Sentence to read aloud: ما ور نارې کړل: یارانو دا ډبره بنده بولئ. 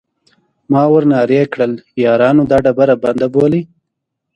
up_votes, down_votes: 2, 0